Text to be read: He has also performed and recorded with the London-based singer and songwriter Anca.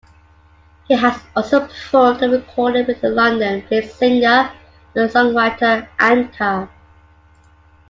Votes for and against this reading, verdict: 2, 1, accepted